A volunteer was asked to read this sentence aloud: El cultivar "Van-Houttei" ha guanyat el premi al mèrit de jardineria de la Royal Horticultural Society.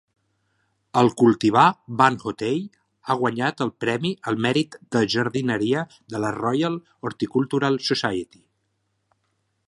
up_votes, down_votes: 2, 0